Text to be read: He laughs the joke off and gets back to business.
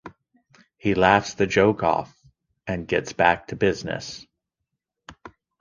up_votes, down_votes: 2, 0